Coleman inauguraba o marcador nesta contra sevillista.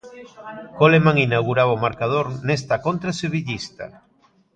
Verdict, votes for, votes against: accepted, 2, 0